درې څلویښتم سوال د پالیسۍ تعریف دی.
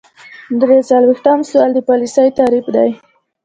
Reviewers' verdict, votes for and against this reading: accepted, 2, 0